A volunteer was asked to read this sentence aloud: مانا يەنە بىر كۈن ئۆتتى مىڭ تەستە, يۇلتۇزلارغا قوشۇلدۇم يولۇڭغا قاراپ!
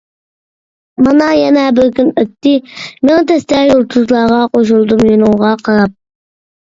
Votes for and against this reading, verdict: 0, 2, rejected